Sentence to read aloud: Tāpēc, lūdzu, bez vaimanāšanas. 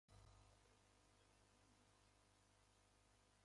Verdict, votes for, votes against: rejected, 0, 2